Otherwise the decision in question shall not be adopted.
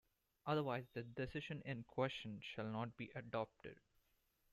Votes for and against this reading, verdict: 1, 2, rejected